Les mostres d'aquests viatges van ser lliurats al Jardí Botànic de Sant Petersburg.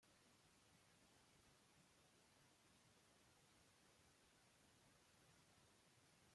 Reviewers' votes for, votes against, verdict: 0, 2, rejected